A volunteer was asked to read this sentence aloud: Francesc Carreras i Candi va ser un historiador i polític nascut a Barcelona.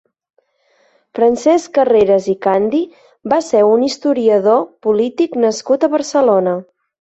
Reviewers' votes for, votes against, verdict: 1, 2, rejected